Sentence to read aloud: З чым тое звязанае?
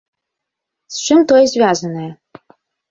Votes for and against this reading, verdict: 1, 2, rejected